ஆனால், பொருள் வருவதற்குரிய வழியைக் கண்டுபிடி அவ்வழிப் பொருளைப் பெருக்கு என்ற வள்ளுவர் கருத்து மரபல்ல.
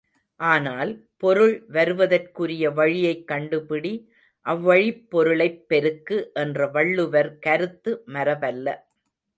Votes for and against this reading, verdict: 2, 0, accepted